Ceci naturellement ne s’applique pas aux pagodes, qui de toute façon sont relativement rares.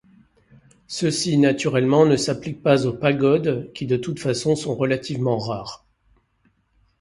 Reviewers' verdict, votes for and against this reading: accepted, 2, 0